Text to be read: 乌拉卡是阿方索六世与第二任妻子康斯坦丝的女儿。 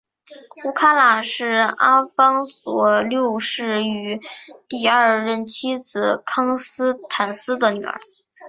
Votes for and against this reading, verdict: 2, 0, accepted